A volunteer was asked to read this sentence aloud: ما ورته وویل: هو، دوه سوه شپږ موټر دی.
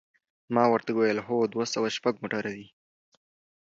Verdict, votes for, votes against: accepted, 2, 0